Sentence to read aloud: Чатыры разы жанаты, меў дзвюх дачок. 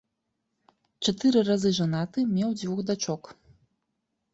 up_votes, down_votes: 2, 0